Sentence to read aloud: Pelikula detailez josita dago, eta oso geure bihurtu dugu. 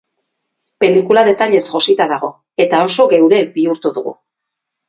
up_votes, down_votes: 2, 2